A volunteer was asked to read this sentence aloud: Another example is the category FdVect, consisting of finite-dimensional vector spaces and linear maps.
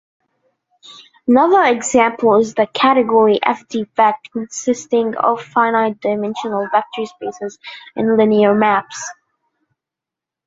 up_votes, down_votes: 2, 1